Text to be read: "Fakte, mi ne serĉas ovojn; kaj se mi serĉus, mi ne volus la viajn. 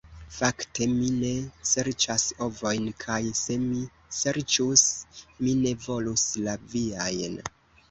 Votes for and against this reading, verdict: 2, 0, accepted